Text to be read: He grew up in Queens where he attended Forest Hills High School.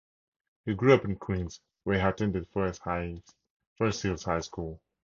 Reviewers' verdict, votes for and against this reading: rejected, 0, 2